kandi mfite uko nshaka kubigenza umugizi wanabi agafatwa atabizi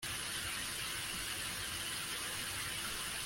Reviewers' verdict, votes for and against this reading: rejected, 0, 2